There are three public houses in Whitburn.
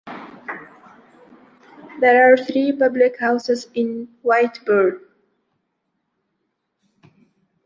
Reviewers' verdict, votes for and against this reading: rejected, 1, 2